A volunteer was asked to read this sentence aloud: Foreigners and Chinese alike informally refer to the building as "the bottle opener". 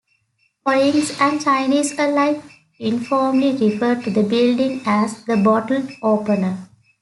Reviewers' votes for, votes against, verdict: 3, 1, accepted